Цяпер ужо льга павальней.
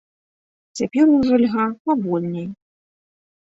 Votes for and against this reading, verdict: 0, 2, rejected